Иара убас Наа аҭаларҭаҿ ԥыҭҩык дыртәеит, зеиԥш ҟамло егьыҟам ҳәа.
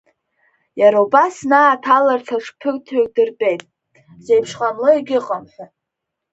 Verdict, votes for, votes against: rejected, 2, 4